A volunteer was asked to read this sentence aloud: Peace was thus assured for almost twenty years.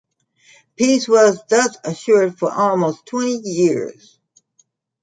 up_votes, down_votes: 2, 0